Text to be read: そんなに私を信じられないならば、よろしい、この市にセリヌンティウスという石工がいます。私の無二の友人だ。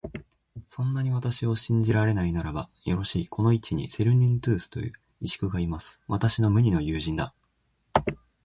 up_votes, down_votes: 2, 0